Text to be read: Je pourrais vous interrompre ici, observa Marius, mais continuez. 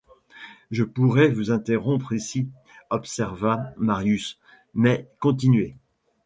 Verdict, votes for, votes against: accepted, 2, 1